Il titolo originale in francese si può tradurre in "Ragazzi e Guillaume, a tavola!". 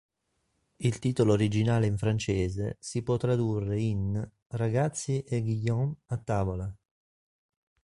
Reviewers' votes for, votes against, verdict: 4, 0, accepted